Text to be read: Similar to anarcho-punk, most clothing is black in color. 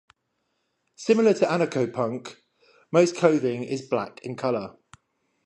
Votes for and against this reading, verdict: 10, 0, accepted